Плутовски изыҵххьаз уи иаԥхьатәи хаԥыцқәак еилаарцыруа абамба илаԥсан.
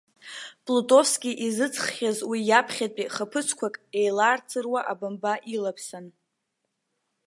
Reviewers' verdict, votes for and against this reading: accepted, 2, 0